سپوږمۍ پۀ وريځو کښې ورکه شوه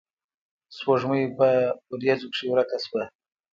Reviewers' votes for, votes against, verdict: 2, 0, accepted